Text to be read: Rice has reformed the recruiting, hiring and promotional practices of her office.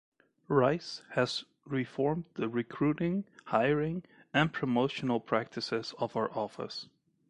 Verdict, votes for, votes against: accepted, 2, 0